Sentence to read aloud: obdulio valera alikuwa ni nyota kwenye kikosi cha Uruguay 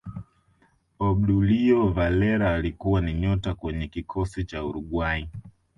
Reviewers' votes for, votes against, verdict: 2, 0, accepted